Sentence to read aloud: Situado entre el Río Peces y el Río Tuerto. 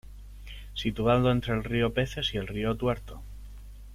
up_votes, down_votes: 1, 2